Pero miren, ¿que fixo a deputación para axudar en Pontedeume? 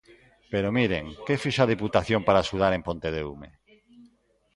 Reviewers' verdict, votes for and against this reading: rejected, 1, 2